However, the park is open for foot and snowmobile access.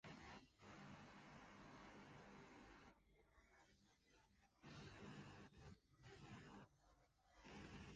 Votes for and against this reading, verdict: 0, 2, rejected